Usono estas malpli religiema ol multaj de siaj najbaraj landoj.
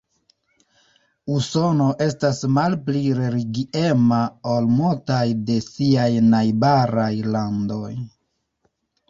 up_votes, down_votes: 0, 2